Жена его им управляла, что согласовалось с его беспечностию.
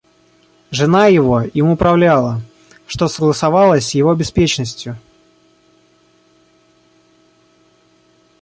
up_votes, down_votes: 1, 2